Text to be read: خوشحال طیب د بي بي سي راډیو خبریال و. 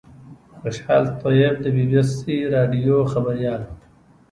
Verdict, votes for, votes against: accepted, 2, 0